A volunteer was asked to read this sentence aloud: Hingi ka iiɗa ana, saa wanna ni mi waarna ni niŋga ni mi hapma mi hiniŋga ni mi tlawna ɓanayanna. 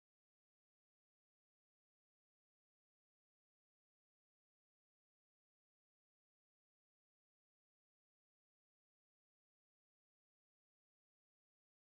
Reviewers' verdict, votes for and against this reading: rejected, 0, 2